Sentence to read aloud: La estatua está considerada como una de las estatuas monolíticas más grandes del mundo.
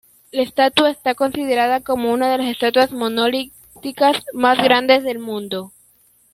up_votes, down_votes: 0, 2